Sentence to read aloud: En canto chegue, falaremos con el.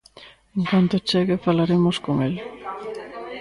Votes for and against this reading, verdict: 0, 2, rejected